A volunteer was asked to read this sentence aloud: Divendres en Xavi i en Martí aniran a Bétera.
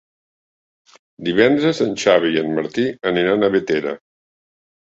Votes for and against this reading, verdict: 0, 2, rejected